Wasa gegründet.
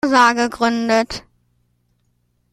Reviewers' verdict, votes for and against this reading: rejected, 0, 2